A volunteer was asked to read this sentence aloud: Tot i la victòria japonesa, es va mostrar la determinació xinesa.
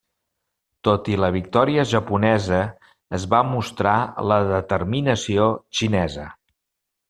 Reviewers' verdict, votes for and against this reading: accepted, 3, 0